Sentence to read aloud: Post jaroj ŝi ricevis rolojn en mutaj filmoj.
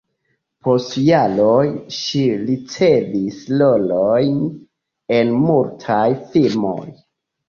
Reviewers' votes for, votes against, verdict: 0, 2, rejected